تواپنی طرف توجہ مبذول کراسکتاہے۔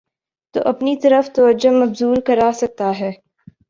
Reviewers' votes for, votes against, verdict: 3, 0, accepted